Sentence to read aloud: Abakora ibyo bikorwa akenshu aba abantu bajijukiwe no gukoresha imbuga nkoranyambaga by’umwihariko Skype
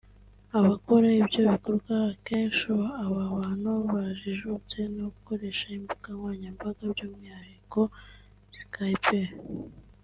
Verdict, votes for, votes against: rejected, 0, 2